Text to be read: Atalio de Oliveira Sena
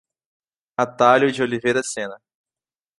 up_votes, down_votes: 2, 1